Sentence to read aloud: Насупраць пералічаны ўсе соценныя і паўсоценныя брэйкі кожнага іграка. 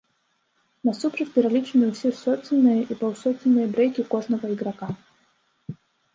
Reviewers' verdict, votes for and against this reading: rejected, 1, 2